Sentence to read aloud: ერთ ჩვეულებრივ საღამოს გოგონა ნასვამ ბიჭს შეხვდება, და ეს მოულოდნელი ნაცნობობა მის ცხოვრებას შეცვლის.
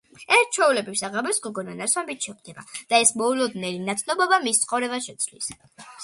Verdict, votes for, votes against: accepted, 2, 1